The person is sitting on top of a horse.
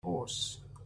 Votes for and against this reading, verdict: 0, 2, rejected